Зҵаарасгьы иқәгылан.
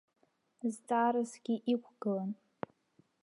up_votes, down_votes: 2, 1